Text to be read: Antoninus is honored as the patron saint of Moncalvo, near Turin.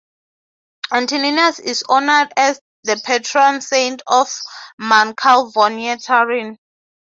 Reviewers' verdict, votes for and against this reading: rejected, 0, 3